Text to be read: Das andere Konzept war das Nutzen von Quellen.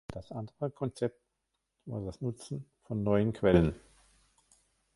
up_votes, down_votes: 0, 2